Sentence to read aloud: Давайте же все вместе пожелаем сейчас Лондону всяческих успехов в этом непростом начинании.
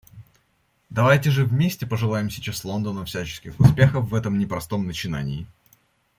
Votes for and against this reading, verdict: 1, 2, rejected